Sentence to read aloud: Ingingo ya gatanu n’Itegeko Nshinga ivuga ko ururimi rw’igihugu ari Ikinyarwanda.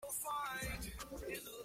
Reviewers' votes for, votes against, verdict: 0, 2, rejected